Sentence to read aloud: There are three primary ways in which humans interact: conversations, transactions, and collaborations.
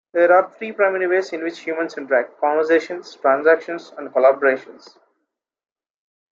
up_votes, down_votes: 2, 0